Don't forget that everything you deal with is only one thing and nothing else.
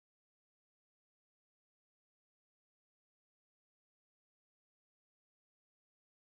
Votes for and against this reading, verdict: 0, 2, rejected